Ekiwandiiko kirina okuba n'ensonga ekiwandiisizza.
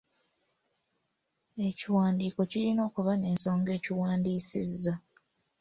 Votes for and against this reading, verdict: 1, 2, rejected